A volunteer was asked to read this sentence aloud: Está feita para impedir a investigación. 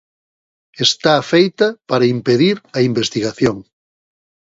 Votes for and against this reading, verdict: 2, 0, accepted